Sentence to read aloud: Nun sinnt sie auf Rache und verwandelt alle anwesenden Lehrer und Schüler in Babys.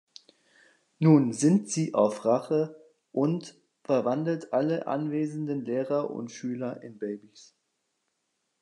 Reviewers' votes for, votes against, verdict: 2, 1, accepted